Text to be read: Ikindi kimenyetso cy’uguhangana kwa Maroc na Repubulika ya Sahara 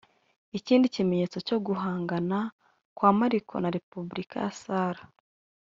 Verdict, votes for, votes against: rejected, 1, 2